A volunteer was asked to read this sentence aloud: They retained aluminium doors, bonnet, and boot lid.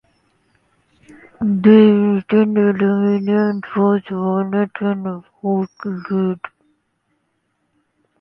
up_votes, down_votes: 0, 2